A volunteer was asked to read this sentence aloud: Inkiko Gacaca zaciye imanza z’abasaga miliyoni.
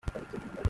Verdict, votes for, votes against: rejected, 0, 2